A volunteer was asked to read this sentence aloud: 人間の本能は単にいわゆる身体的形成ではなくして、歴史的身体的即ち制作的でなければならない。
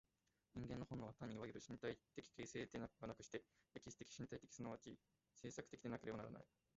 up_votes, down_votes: 1, 2